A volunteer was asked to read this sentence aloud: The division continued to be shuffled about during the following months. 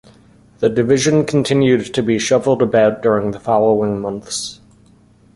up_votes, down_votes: 2, 0